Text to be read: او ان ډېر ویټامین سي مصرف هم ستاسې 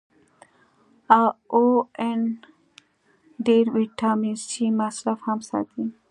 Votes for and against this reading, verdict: 1, 2, rejected